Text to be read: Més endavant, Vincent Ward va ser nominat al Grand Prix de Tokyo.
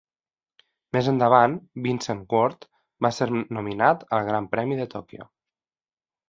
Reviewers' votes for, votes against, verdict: 1, 2, rejected